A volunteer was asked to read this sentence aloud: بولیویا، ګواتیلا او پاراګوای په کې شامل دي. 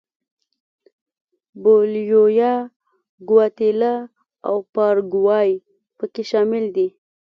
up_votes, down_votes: 2, 0